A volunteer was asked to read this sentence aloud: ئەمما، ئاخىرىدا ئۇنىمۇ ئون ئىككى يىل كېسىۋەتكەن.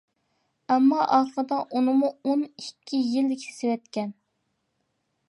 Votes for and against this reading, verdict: 1, 2, rejected